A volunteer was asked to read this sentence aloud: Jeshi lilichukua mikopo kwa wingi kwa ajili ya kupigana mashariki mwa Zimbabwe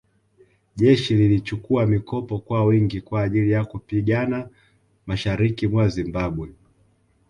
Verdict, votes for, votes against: accepted, 2, 0